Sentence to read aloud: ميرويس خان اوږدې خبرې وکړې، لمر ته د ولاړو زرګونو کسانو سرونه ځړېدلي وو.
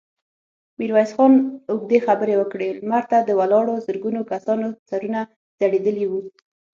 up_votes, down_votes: 6, 0